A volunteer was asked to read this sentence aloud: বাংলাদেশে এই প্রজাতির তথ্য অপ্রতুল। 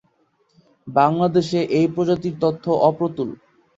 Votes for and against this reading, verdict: 5, 0, accepted